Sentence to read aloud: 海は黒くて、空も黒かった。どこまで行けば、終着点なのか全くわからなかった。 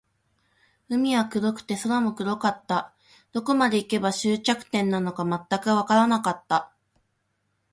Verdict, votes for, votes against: rejected, 0, 2